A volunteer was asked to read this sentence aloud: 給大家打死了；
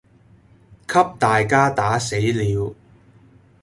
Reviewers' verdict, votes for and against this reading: accepted, 2, 0